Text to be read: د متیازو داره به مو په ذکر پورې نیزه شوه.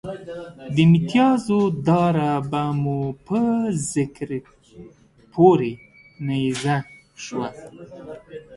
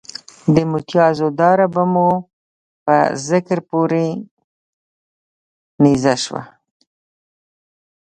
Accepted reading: second